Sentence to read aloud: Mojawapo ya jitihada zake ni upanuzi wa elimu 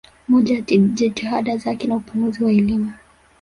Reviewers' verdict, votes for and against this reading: accepted, 2, 0